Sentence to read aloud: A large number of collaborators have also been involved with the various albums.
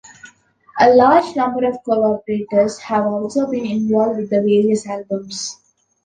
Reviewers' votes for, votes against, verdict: 2, 0, accepted